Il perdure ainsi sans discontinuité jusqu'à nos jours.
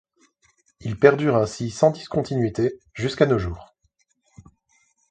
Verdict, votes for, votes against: accepted, 2, 0